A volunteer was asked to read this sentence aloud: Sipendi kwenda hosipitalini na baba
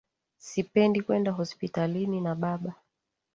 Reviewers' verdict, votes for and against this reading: rejected, 0, 2